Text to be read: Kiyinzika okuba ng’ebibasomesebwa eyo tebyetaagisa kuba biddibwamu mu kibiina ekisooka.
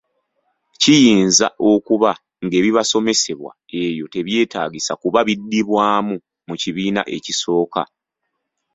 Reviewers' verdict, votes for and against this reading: rejected, 1, 2